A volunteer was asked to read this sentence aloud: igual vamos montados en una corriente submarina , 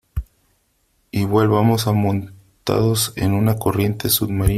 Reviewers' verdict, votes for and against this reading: rejected, 1, 2